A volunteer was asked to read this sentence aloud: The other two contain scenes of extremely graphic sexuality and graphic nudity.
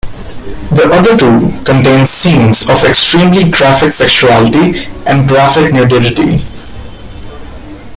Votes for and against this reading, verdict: 1, 2, rejected